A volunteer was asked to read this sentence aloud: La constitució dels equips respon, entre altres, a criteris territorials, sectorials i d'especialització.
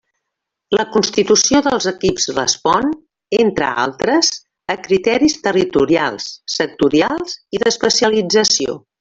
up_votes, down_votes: 1, 2